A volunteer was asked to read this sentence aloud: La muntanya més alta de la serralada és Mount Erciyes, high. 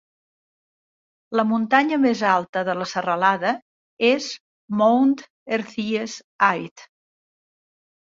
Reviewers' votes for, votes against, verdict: 0, 2, rejected